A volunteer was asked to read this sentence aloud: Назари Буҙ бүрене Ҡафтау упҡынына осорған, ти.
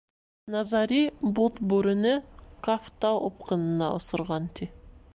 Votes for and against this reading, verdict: 2, 0, accepted